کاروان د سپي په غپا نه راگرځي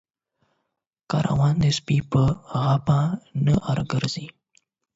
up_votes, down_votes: 0, 8